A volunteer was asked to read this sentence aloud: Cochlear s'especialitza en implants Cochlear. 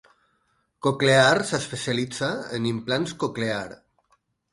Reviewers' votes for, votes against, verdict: 4, 0, accepted